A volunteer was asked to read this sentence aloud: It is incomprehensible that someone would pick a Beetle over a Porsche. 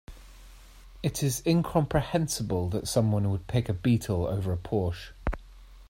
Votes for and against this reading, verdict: 2, 0, accepted